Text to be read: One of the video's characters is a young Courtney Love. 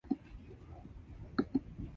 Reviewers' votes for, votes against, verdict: 0, 2, rejected